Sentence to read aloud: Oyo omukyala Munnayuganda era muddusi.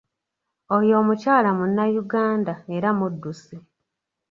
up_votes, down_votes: 3, 0